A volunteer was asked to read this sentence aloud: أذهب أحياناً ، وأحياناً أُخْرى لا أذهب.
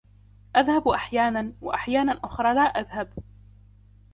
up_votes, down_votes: 2, 0